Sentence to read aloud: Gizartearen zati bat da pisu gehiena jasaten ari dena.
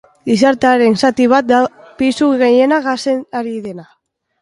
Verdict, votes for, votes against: rejected, 0, 2